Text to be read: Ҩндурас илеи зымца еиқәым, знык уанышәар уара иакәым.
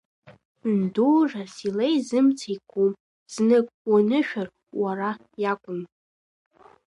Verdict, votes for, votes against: accepted, 2, 1